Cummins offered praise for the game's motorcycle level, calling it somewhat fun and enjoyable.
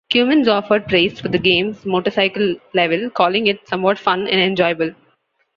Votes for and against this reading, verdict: 2, 1, accepted